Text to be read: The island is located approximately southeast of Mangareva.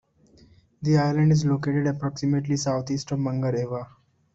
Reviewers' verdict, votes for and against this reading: accepted, 2, 0